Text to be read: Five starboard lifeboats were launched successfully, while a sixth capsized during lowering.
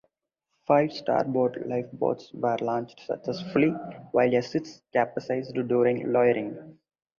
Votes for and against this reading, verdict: 2, 0, accepted